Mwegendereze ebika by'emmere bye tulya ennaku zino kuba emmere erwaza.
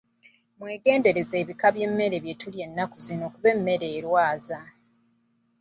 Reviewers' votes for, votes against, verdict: 4, 0, accepted